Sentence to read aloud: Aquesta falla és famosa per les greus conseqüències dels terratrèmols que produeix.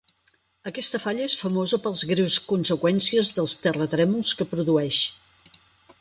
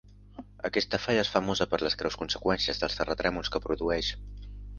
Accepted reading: second